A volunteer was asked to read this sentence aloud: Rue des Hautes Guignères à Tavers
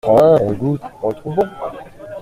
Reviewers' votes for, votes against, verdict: 0, 2, rejected